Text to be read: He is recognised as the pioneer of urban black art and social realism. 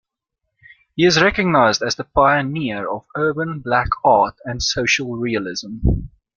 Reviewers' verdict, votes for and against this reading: accepted, 2, 0